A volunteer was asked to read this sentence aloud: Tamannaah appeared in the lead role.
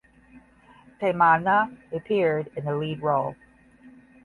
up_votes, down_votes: 10, 0